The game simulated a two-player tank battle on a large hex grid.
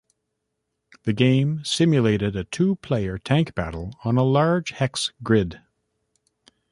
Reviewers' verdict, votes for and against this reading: accepted, 2, 0